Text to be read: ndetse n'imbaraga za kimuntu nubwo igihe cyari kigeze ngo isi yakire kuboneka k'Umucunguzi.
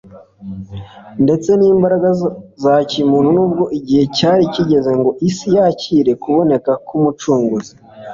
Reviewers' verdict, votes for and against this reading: accepted, 2, 0